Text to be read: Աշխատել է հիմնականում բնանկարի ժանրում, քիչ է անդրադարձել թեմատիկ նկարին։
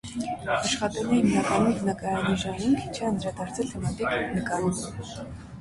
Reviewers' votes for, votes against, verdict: 0, 2, rejected